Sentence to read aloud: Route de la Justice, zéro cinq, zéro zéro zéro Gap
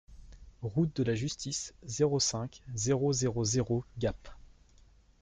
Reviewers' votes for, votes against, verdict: 2, 0, accepted